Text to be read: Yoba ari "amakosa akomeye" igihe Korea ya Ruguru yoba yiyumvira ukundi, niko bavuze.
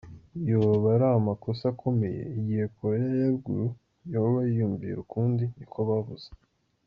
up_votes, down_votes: 2, 0